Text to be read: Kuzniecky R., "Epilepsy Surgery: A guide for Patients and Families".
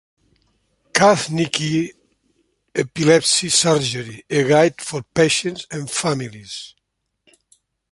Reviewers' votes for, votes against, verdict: 0, 2, rejected